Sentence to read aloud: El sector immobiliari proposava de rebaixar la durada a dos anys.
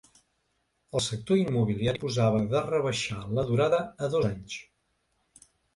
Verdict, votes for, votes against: rejected, 2, 3